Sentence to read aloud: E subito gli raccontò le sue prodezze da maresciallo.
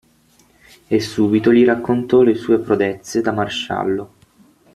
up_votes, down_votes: 6, 0